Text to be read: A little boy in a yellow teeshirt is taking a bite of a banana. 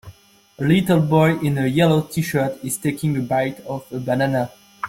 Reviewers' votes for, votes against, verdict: 2, 0, accepted